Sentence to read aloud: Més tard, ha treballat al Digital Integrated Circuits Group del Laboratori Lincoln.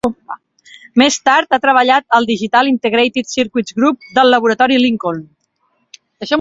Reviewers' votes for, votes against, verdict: 8, 0, accepted